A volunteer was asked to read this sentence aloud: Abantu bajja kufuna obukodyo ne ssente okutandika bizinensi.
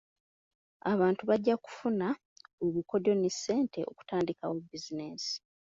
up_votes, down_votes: 1, 2